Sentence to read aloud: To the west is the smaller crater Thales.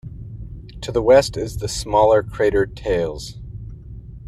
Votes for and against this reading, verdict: 2, 0, accepted